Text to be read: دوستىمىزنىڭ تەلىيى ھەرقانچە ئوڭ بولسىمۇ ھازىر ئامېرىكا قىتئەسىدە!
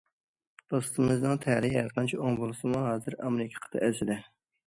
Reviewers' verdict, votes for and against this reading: accepted, 2, 1